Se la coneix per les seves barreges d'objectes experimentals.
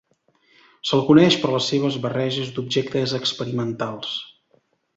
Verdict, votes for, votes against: rejected, 1, 2